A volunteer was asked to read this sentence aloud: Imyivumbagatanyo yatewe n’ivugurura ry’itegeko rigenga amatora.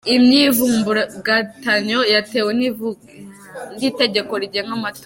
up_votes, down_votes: 1, 2